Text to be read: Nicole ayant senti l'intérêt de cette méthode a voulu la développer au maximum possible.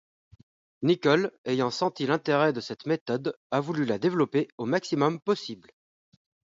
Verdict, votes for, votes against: accepted, 2, 0